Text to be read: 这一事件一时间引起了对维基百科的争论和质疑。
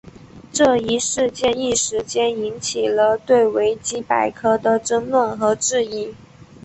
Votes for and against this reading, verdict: 2, 3, rejected